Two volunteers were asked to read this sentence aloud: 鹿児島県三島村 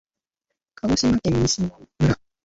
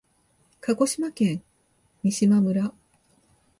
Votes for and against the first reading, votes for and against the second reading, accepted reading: 0, 2, 2, 0, second